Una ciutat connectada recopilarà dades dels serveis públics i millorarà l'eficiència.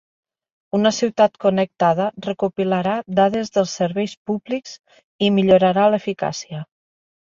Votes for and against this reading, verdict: 1, 2, rejected